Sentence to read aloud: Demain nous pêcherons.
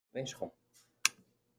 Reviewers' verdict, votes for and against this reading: rejected, 0, 2